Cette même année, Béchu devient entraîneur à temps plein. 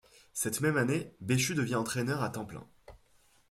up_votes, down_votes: 2, 0